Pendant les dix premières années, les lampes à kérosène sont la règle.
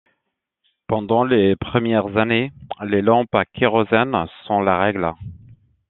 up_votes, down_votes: 0, 2